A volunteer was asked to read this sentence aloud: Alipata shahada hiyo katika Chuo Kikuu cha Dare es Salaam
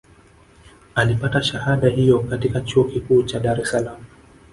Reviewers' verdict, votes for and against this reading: rejected, 1, 2